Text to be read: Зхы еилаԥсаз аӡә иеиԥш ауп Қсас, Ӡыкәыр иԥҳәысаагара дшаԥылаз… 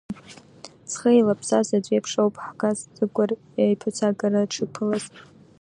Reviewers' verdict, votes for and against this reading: accepted, 2, 0